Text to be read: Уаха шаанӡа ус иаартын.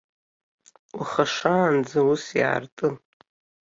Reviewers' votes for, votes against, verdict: 2, 0, accepted